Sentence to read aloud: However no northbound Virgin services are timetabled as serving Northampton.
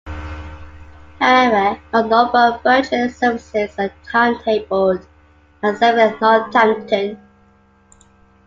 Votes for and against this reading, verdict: 0, 2, rejected